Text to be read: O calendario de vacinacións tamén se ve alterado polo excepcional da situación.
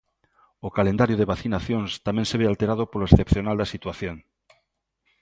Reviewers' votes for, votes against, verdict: 2, 0, accepted